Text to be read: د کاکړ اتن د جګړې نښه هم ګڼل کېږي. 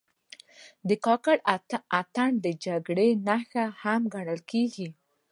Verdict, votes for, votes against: rejected, 0, 2